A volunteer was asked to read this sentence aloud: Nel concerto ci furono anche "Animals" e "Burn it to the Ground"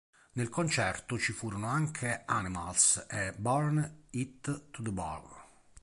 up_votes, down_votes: 2, 3